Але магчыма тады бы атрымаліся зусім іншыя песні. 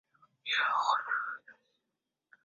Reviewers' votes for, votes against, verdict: 0, 2, rejected